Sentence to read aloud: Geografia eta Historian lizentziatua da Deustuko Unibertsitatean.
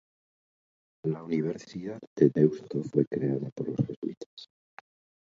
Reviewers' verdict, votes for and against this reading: rejected, 0, 2